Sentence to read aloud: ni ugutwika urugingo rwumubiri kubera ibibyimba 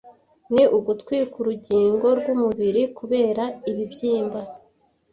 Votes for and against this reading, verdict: 2, 0, accepted